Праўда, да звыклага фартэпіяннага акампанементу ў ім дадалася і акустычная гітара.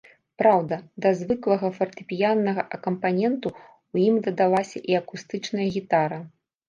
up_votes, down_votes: 0, 2